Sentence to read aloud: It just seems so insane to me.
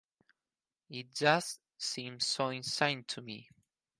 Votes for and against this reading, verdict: 4, 0, accepted